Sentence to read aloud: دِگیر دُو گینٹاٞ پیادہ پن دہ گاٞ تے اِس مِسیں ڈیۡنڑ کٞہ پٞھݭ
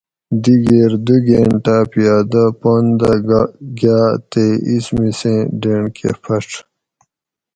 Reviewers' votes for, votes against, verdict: 2, 0, accepted